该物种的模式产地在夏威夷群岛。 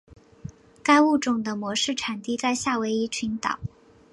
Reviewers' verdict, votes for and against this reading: accepted, 2, 0